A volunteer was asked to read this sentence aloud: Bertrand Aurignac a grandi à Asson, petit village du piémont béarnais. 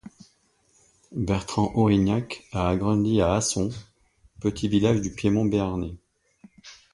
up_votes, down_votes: 2, 0